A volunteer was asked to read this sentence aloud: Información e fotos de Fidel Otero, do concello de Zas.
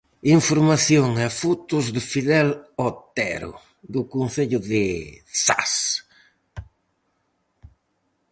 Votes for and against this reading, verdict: 4, 0, accepted